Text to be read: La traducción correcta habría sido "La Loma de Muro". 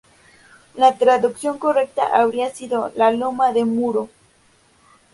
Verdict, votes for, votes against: accepted, 2, 0